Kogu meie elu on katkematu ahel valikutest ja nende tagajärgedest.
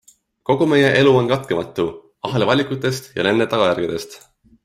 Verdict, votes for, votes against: accepted, 2, 1